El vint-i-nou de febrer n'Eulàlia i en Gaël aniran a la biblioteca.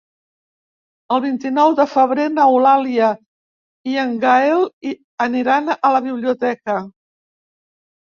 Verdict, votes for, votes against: rejected, 1, 2